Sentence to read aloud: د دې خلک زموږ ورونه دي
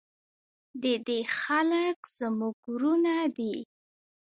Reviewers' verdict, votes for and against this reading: rejected, 0, 2